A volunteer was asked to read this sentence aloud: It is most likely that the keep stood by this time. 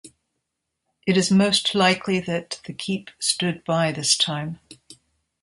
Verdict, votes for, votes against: accepted, 2, 0